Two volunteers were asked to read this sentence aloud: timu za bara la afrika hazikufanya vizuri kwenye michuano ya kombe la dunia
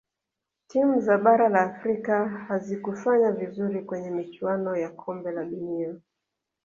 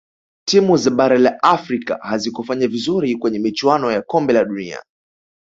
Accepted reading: second